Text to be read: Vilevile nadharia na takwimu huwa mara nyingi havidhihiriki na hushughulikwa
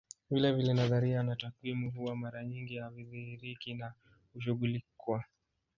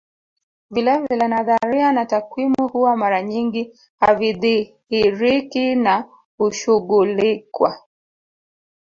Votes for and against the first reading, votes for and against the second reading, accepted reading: 1, 2, 2, 1, second